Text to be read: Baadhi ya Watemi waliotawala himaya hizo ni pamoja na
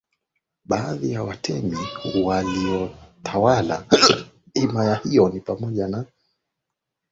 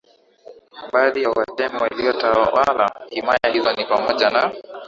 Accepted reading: second